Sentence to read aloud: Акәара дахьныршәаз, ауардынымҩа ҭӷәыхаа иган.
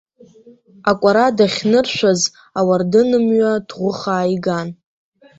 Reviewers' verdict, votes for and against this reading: accepted, 2, 1